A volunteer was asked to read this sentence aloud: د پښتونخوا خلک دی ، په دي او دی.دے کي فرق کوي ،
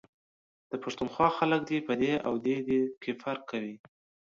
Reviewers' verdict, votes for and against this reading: accepted, 2, 0